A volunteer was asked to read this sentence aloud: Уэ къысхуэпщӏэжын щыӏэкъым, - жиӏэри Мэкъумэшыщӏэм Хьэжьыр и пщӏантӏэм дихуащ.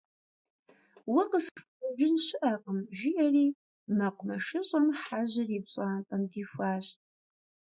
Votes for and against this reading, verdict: 1, 3, rejected